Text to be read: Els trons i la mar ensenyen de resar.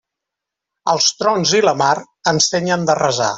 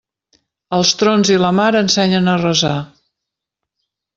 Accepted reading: first